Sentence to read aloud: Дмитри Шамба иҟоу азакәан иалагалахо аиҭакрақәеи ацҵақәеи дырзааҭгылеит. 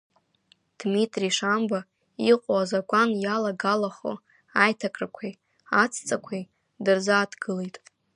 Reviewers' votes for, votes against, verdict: 0, 2, rejected